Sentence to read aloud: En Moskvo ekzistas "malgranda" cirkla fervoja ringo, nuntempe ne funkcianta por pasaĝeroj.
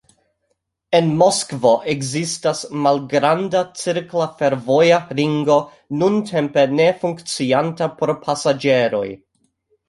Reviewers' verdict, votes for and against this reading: rejected, 0, 2